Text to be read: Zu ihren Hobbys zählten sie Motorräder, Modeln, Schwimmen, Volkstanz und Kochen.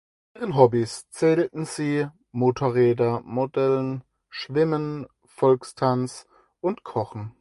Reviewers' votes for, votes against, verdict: 0, 4, rejected